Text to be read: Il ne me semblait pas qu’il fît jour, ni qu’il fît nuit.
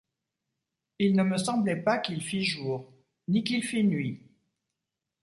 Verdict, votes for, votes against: accepted, 2, 0